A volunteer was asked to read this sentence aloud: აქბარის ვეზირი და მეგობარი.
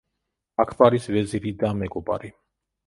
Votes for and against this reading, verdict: 1, 2, rejected